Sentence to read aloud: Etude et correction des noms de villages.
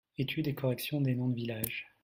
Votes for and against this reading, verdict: 2, 0, accepted